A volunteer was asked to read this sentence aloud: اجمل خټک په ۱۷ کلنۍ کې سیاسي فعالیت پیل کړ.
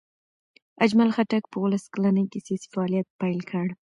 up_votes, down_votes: 0, 2